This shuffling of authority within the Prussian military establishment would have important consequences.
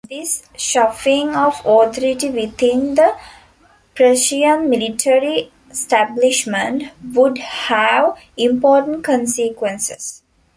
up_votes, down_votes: 1, 2